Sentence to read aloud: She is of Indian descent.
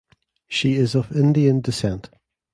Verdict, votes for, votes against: accepted, 2, 0